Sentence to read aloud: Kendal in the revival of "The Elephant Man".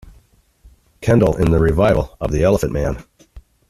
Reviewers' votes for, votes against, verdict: 2, 0, accepted